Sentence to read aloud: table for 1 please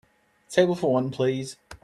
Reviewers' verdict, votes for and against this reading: rejected, 0, 2